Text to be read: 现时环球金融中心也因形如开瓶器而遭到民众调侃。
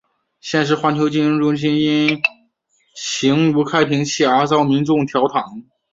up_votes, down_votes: 2, 0